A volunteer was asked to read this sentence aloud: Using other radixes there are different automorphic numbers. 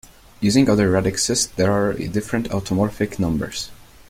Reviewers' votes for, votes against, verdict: 1, 2, rejected